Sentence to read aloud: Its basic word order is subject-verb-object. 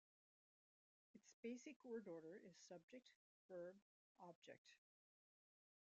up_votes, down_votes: 0, 2